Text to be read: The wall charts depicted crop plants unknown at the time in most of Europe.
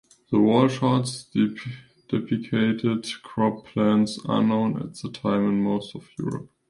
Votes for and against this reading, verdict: 1, 2, rejected